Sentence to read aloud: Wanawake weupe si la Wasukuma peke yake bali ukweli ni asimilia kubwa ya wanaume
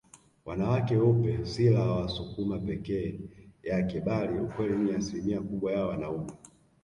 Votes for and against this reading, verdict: 1, 2, rejected